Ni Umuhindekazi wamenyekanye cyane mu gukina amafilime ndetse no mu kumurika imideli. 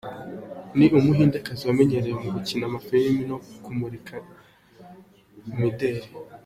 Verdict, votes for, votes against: rejected, 1, 2